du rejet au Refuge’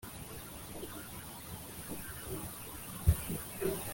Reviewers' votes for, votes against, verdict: 0, 2, rejected